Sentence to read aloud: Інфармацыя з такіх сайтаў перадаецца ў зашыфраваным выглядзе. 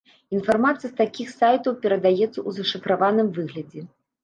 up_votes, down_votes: 2, 0